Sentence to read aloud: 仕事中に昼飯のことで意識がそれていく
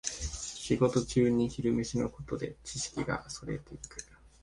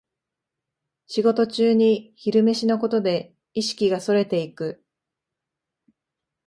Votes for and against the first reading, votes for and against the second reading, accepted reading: 1, 2, 2, 0, second